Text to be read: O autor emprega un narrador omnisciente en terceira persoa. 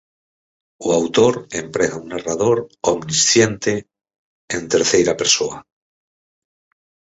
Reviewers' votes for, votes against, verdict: 4, 0, accepted